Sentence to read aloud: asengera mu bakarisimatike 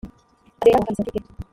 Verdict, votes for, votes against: rejected, 0, 3